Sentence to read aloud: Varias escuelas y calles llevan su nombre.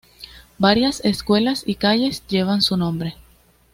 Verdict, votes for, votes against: accepted, 2, 0